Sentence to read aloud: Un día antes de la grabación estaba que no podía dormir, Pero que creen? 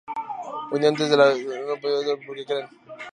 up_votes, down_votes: 0, 2